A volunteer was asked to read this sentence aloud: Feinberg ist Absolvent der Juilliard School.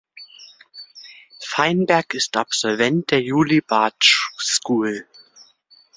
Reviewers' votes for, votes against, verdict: 0, 2, rejected